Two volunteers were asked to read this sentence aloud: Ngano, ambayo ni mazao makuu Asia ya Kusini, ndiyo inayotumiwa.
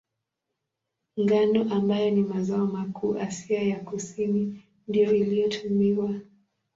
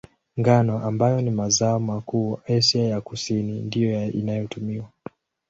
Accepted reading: second